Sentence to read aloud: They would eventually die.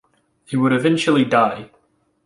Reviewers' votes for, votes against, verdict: 0, 2, rejected